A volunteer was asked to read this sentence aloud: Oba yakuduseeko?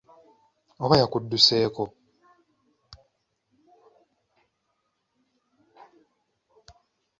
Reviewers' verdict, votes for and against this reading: accepted, 2, 0